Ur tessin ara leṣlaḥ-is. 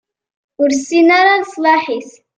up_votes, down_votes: 2, 0